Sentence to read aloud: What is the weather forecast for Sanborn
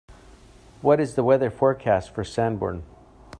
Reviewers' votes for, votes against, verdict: 2, 0, accepted